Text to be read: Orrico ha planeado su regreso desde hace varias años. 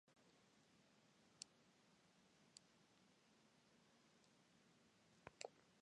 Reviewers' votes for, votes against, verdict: 0, 2, rejected